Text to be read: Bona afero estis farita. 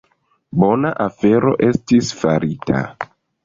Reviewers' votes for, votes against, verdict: 2, 1, accepted